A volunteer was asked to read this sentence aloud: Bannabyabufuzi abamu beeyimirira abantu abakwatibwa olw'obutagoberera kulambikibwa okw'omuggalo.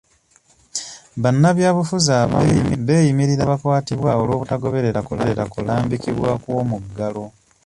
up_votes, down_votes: 1, 2